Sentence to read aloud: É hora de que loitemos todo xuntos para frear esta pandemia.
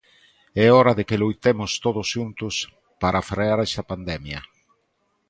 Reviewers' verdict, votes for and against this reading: rejected, 0, 2